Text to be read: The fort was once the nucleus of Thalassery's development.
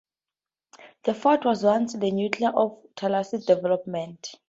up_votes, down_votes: 2, 2